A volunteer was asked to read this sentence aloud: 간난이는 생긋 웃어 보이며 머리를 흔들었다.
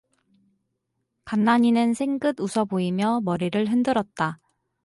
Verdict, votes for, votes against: accepted, 4, 0